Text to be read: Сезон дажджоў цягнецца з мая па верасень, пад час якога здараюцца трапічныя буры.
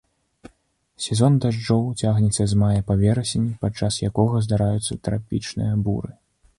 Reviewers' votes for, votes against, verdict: 2, 0, accepted